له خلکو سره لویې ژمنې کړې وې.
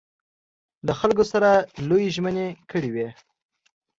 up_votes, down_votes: 2, 0